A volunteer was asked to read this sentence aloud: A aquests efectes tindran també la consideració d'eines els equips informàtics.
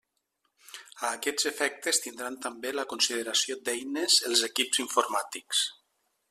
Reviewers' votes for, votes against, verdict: 3, 0, accepted